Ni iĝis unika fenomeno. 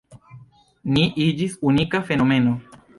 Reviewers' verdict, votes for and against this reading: accepted, 3, 1